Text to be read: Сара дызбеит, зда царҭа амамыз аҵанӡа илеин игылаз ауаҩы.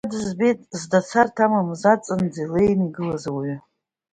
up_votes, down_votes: 0, 2